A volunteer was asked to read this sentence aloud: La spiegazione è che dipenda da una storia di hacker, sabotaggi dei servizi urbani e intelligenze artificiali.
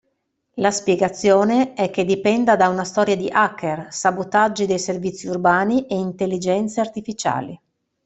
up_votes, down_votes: 2, 0